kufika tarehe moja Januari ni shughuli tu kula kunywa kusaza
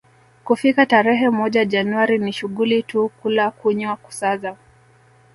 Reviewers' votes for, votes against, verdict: 0, 2, rejected